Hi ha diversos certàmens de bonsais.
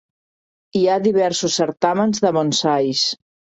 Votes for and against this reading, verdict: 2, 0, accepted